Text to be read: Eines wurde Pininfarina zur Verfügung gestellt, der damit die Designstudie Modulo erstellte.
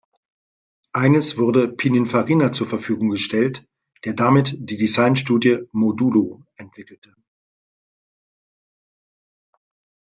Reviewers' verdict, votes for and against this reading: rejected, 0, 2